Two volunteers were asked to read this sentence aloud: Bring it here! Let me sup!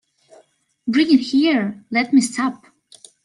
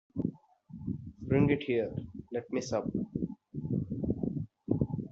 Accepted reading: first